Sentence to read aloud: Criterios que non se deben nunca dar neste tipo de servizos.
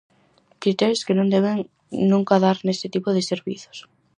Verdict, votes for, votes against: rejected, 0, 4